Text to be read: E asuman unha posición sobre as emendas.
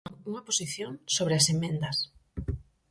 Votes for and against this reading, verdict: 0, 4, rejected